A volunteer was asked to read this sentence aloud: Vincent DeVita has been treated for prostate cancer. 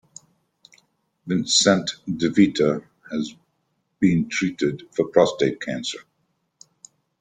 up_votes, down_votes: 2, 1